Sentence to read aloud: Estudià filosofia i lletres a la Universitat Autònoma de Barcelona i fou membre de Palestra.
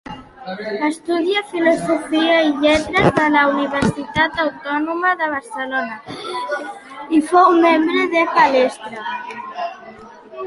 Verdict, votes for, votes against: accepted, 2, 0